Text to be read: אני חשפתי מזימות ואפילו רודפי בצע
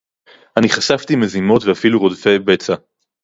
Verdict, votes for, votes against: accepted, 4, 0